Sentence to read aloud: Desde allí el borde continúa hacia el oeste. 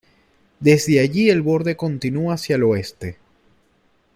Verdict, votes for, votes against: accepted, 2, 0